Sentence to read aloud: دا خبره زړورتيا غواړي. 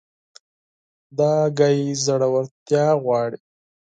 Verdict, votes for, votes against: rejected, 2, 4